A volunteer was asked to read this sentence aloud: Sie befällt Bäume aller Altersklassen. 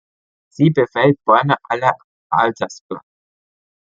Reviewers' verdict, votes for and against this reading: rejected, 1, 2